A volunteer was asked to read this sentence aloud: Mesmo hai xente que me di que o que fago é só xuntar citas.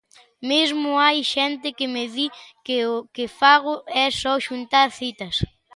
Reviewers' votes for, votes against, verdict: 2, 0, accepted